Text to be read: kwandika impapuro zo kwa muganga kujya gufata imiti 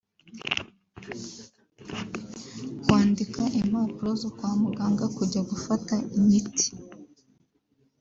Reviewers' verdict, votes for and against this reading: rejected, 0, 2